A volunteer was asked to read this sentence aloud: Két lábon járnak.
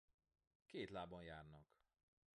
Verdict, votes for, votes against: accepted, 2, 0